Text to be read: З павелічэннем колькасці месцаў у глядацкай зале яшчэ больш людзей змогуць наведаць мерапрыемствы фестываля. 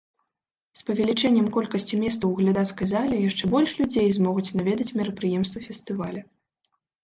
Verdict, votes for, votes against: rejected, 0, 2